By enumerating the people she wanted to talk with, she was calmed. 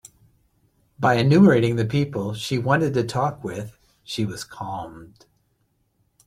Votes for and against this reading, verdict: 2, 0, accepted